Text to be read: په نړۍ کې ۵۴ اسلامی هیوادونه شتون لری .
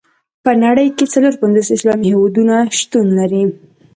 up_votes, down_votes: 0, 2